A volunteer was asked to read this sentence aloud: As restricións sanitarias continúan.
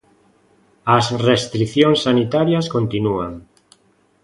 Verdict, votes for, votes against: accepted, 2, 0